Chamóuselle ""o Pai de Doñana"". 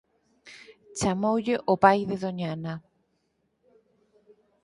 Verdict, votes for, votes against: rejected, 0, 4